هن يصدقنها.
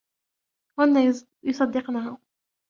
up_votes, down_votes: 0, 2